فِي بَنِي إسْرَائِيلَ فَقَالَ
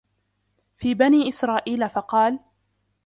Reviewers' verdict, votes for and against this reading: rejected, 1, 2